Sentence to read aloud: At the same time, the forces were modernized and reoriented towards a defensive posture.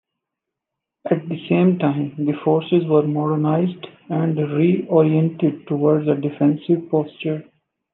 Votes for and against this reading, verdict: 2, 1, accepted